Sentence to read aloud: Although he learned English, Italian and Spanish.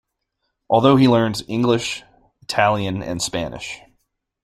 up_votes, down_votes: 2, 1